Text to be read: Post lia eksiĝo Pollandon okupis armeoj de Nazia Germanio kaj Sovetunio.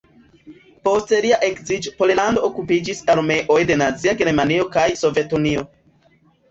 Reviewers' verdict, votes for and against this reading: rejected, 1, 3